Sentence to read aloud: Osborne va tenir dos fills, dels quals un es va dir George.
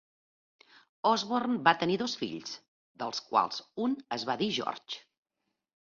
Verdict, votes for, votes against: accepted, 2, 1